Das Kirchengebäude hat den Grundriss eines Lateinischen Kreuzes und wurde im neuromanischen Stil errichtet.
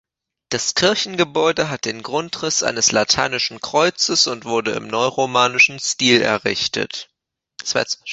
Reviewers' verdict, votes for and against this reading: rejected, 0, 2